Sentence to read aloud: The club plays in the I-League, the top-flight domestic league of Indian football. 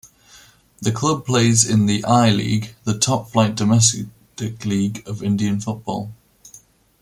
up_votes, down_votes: 2, 0